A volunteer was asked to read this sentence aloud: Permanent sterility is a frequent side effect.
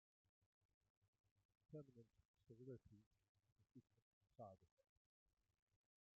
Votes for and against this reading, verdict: 1, 2, rejected